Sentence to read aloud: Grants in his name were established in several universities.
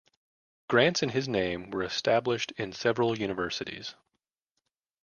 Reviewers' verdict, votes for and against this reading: accepted, 2, 0